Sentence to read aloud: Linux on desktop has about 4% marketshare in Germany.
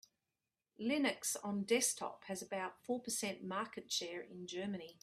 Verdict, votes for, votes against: rejected, 0, 2